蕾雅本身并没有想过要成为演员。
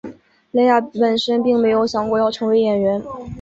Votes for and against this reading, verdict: 2, 0, accepted